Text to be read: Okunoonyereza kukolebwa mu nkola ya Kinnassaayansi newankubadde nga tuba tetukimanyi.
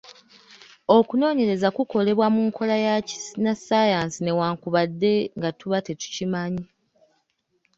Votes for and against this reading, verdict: 2, 1, accepted